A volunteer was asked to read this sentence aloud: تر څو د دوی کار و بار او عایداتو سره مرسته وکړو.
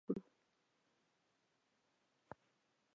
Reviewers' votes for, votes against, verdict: 0, 2, rejected